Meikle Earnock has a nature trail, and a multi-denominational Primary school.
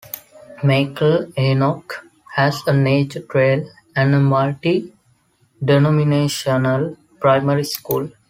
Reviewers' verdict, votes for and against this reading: accepted, 2, 1